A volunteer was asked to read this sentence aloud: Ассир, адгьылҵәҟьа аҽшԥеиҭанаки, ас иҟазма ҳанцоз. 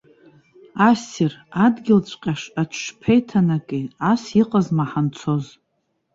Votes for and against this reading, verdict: 1, 2, rejected